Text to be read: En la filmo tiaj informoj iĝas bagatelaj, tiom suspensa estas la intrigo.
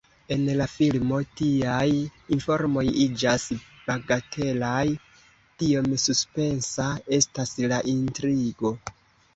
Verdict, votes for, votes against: accepted, 2, 1